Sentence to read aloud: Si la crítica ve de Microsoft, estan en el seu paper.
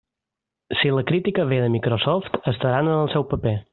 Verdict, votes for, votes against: rejected, 0, 2